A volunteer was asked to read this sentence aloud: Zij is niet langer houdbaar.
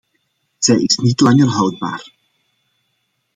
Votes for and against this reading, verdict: 2, 0, accepted